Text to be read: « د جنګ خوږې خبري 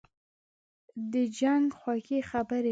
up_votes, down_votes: 2, 0